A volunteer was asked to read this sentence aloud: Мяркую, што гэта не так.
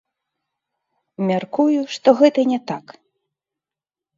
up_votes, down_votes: 0, 2